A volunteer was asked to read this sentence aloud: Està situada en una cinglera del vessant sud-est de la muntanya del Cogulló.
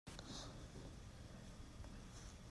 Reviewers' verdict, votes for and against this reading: rejected, 0, 2